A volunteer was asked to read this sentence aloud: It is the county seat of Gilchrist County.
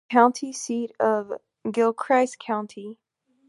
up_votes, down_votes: 0, 2